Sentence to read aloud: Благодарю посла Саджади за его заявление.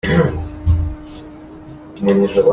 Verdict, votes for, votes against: rejected, 0, 2